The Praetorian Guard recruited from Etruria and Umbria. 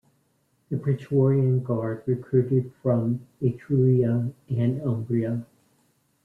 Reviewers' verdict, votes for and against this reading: accepted, 2, 1